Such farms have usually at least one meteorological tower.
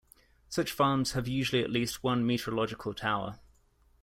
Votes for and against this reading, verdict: 2, 0, accepted